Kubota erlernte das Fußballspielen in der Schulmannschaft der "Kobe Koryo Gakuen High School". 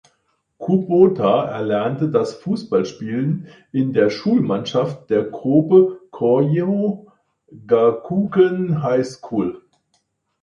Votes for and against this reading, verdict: 1, 2, rejected